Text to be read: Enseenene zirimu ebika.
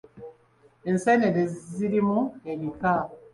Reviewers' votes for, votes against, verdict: 2, 0, accepted